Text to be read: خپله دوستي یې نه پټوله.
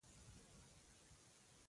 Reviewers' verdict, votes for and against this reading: rejected, 0, 3